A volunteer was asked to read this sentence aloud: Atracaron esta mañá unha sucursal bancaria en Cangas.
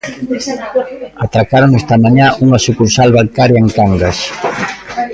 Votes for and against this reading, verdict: 1, 2, rejected